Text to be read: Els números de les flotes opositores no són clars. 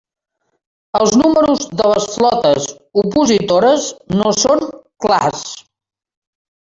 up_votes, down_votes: 1, 2